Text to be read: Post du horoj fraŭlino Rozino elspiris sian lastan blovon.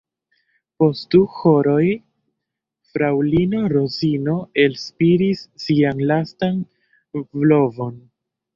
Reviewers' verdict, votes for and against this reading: rejected, 0, 2